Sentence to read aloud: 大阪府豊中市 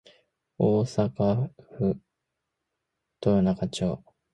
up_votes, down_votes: 1, 2